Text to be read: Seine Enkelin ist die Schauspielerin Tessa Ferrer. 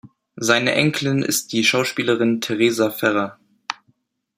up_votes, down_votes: 0, 2